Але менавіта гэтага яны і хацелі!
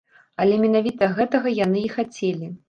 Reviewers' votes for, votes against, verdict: 2, 0, accepted